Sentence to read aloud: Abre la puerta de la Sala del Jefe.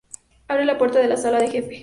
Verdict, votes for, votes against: rejected, 0, 2